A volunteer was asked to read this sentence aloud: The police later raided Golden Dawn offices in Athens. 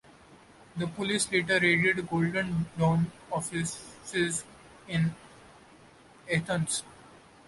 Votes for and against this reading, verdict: 2, 1, accepted